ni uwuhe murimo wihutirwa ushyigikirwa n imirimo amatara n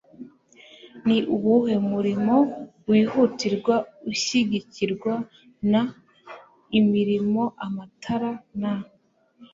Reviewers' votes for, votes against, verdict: 2, 0, accepted